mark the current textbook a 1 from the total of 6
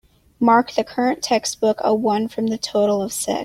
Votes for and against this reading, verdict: 0, 2, rejected